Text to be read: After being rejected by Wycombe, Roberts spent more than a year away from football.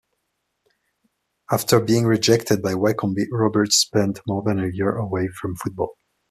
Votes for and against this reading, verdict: 1, 2, rejected